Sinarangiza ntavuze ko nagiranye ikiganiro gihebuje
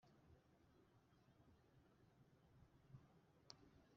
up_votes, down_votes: 1, 2